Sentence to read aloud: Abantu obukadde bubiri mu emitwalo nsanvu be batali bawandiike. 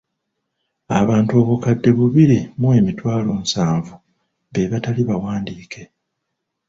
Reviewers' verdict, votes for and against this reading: rejected, 1, 2